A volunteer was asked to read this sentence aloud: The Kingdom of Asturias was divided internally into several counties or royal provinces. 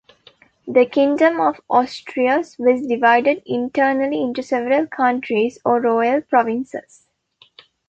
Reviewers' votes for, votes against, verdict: 1, 2, rejected